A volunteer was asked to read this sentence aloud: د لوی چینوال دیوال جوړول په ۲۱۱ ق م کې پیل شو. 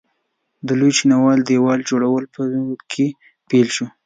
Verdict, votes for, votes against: rejected, 0, 2